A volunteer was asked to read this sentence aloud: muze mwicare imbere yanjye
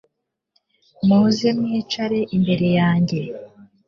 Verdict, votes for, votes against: accepted, 3, 0